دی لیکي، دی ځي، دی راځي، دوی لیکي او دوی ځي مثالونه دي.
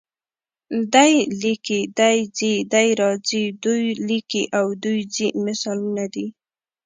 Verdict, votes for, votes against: accepted, 2, 0